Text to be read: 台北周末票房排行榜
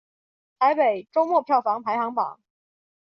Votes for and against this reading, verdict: 2, 0, accepted